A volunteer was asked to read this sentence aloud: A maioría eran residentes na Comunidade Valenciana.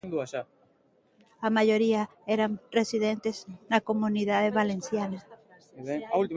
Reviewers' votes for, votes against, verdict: 0, 2, rejected